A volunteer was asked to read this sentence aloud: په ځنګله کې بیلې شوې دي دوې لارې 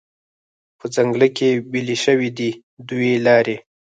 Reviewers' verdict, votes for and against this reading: rejected, 0, 4